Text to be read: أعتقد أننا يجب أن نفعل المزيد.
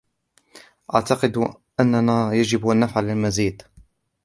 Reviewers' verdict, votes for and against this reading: rejected, 1, 2